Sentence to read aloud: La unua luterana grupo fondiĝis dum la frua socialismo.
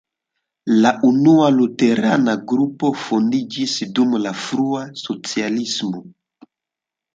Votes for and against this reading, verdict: 2, 0, accepted